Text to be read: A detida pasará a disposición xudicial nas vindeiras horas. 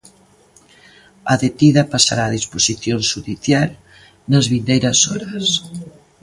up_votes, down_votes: 1, 2